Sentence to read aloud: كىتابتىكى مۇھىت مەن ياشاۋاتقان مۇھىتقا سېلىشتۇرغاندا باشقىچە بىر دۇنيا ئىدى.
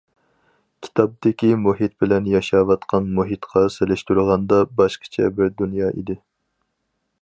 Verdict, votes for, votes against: rejected, 0, 4